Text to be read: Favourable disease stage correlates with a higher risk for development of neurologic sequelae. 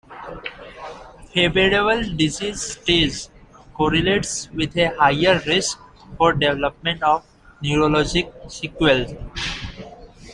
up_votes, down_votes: 0, 2